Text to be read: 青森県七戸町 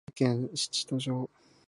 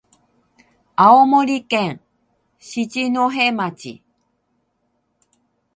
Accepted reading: second